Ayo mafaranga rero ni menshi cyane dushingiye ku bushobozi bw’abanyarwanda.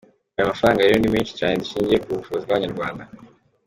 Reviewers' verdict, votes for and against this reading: accepted, 2, 0